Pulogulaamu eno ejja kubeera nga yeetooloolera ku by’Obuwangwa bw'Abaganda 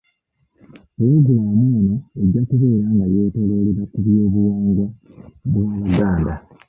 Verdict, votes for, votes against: rejected, 1, 2